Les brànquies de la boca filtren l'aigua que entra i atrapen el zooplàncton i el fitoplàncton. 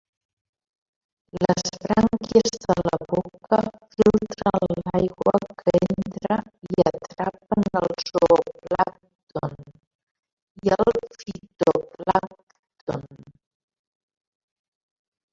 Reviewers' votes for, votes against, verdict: 1, 2, rejected